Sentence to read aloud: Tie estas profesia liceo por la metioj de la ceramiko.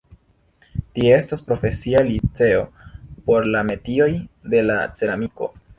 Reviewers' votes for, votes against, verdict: 2, 0, accepted